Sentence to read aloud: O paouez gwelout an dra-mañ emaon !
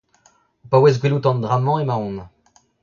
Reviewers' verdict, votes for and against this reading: rejected, 1, 2